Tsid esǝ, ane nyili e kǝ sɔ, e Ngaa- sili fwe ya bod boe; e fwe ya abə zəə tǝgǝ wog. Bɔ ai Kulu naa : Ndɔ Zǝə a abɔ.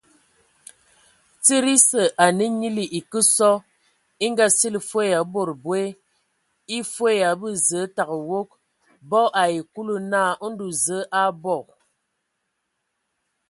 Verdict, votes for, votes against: accepted, 2, 0